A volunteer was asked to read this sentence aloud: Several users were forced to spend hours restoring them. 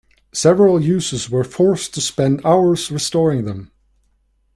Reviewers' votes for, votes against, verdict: 2, 1, accepted